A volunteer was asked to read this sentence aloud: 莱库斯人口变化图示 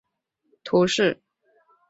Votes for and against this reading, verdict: 3, 5, rejected